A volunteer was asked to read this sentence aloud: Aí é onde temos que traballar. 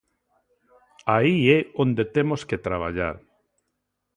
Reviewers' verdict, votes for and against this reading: accepted, 2, 0